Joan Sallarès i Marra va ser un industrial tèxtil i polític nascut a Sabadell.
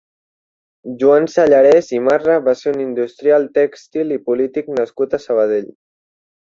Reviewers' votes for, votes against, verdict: 3, 1, accepted